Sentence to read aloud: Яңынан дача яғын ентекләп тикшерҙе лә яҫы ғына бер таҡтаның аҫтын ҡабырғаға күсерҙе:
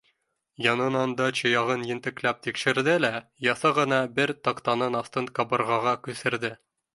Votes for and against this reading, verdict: 1, 2, rejected